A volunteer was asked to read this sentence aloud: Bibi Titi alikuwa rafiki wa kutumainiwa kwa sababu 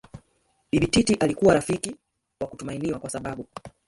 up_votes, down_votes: 1, 2